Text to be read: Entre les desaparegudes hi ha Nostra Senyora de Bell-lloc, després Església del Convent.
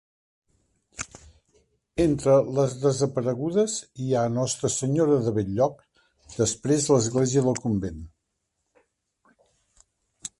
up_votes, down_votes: 3, 1